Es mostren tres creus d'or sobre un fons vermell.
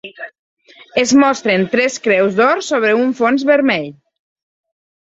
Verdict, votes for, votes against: accepted, 3, 0